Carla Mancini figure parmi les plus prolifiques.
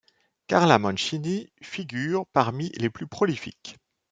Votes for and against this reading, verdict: 2, 0, accepted